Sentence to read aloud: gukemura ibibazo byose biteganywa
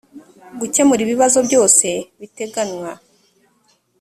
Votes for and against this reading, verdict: 2, 0, accepted